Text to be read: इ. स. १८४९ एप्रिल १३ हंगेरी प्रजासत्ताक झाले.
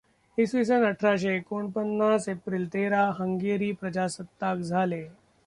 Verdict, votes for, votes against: rejected, 0, 2